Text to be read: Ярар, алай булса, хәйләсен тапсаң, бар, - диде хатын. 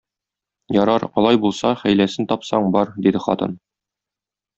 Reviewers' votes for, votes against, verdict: 2, 0, accepted